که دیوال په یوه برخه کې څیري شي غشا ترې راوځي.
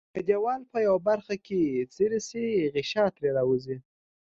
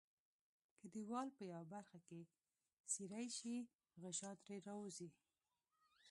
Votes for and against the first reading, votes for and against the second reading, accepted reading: 2, 0, 1, 2, first